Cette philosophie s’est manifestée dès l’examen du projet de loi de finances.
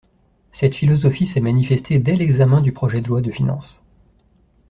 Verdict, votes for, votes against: accepted, 2, 0